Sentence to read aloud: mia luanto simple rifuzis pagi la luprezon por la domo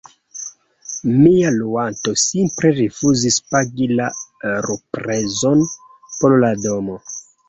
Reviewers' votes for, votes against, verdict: 2, 0, accepted